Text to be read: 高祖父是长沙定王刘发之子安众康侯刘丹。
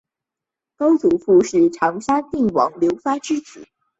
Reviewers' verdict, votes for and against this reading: rejected, 1, 2